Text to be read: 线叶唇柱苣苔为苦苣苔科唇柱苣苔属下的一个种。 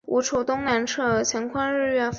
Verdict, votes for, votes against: rejected, 0, 2